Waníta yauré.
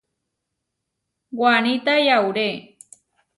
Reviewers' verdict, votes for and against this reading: accepted, 2, 0